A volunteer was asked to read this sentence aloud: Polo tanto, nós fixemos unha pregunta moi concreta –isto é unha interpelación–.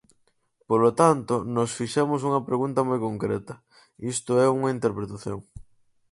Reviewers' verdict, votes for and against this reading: rejected, 0, 4